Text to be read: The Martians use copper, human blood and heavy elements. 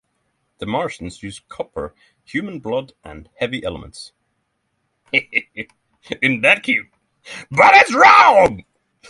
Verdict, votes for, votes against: rejected, 0, 6